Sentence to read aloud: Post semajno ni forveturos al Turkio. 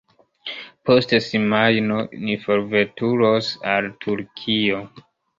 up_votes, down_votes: 0, 2